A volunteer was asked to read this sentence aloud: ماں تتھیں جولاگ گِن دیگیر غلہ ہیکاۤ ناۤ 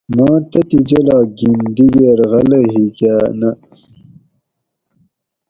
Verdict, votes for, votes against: accepted, 4, 0